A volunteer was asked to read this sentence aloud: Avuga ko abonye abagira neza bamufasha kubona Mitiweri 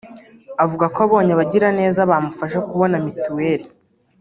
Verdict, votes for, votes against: rejected, 1, 2